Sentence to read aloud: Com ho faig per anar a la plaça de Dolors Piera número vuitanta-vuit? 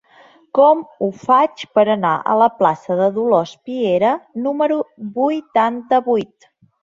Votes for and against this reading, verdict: 2, 0, accepted